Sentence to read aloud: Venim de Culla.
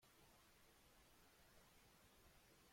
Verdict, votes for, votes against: rejected, 0, 2